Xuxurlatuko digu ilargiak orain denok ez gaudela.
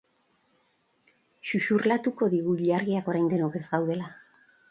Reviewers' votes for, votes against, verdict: 2, 2, rejected